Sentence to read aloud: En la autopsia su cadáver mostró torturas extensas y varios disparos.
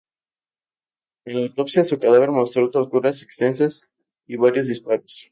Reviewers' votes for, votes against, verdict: 0, 4, rejected